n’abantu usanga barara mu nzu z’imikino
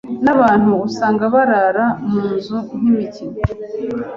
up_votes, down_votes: 1, 2